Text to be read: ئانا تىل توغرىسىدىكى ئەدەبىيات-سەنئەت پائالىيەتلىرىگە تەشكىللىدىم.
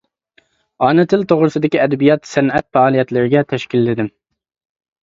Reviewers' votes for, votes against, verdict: 3, 0, accepted